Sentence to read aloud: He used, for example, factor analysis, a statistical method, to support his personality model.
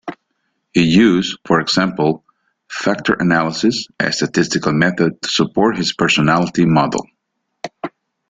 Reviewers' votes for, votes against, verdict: 2, 0, accepted